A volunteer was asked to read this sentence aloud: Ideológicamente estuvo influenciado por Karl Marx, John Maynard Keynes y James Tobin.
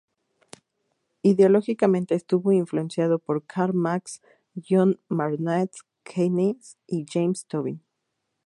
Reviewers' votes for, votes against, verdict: 2, 0, accepted